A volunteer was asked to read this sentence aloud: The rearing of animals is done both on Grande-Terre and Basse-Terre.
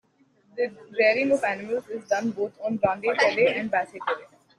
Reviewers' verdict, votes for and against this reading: rejected, 0, 2